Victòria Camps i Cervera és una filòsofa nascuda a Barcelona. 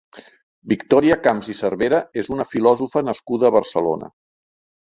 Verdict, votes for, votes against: accepted, 4, 0